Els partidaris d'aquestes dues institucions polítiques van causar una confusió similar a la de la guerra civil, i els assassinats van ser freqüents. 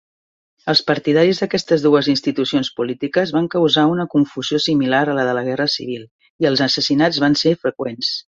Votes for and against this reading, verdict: 3, 0, accepted